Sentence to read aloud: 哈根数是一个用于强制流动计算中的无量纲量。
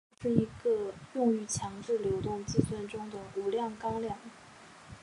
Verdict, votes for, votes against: rejected, 1, 2